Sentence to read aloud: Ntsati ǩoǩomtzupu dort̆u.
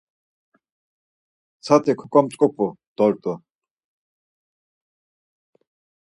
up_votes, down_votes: 4, 2